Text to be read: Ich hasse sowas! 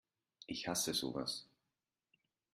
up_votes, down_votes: 2, 0